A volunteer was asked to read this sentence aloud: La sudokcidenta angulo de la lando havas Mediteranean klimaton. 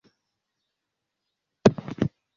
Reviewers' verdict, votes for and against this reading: rejected, 0, 2